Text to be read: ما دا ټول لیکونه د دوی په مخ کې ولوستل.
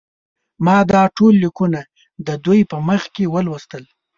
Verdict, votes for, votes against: accepted, 2, 0